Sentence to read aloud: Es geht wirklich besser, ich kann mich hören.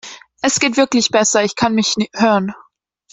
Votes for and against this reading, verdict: 1, 2, rejected